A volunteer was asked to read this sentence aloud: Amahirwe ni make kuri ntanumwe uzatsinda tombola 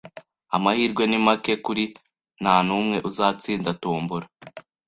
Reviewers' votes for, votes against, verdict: 2, 0, accepted